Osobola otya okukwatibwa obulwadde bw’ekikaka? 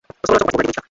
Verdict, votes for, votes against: rejected, 0, 2